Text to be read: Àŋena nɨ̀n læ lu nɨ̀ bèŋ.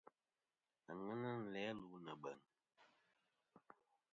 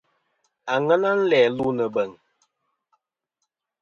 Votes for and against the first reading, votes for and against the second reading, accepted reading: 0, 2, 2, 1, second